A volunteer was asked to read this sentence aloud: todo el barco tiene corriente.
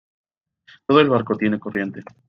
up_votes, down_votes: 2, 1